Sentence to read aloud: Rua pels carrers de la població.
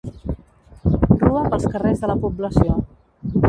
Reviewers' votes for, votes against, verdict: 0, 2, rejected